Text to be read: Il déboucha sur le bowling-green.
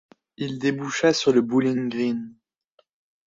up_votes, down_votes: 1, 2